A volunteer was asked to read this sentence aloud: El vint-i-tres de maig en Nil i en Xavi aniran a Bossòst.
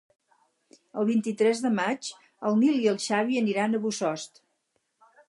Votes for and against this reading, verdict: 4, 0, accepted